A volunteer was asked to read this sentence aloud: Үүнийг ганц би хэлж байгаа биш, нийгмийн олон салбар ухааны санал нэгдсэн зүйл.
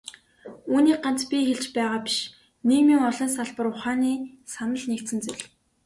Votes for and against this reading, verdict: 3, 0, accepted